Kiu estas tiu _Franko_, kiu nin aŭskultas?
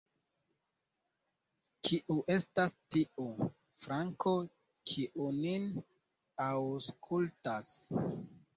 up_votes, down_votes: 2, 1